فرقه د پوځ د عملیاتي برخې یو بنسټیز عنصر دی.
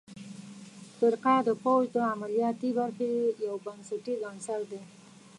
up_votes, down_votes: 0, 2